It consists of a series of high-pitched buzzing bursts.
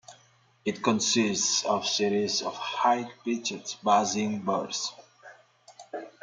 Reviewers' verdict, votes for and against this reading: rejected, 0, 2